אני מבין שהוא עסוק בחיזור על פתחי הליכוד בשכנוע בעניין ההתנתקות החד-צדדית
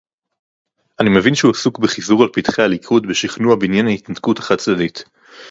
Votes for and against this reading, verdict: 2, 0, accepted